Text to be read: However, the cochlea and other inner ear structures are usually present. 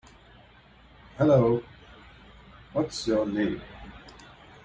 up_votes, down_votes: 0, 2